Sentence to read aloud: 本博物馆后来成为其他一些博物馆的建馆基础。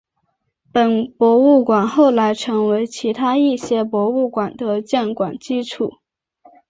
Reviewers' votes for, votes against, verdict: 4, 0, accepted